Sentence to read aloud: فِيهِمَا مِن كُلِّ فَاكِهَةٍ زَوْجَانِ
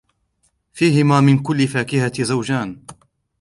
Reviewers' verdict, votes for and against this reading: rejected, 0, 2